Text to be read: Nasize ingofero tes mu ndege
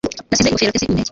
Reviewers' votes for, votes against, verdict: 0, 2, rejected